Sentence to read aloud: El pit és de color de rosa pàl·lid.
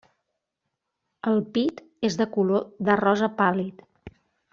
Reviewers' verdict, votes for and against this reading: accepted, 3, 0